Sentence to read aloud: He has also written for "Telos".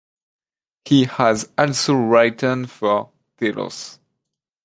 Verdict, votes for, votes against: rejected, 0, 2